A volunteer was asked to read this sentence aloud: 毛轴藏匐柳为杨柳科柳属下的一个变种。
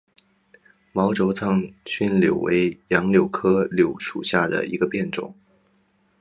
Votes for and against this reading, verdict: 4, 2, accepted